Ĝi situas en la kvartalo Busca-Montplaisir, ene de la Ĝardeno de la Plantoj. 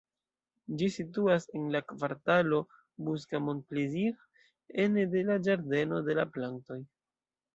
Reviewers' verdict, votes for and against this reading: rejected, 1, 2